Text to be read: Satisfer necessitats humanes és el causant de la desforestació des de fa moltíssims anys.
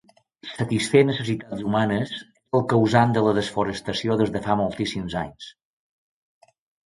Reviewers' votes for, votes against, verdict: 0, 2, rejected